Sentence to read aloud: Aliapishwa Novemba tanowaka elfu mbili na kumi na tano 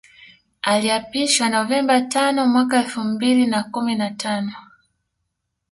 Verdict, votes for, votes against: rejected, 0, 2